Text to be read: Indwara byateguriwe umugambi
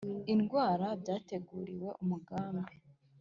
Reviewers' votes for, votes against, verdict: 3, 0, accepted